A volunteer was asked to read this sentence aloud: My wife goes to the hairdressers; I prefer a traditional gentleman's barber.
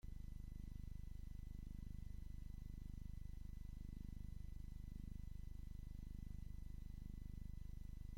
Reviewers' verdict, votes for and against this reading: rejected, 0, 2